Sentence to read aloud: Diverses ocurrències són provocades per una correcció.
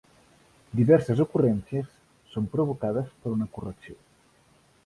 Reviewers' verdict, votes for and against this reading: accepted, 2, 0